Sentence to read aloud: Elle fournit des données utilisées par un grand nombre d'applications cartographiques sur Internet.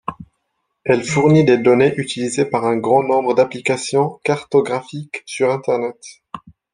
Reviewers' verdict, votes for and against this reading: accepted, 2, 0